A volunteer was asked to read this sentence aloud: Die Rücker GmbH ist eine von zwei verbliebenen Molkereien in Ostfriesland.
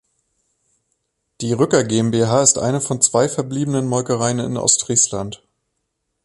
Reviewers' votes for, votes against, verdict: 2, 0, accepted